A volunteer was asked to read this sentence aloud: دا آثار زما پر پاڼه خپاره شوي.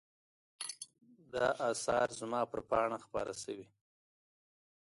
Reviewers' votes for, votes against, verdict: 2, 0, accepted